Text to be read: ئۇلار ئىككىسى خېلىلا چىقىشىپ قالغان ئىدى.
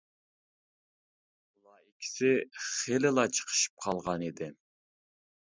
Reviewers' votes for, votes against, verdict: 1, 2, rejected